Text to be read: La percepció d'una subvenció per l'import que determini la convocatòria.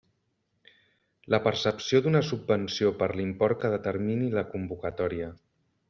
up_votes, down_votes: 3, 0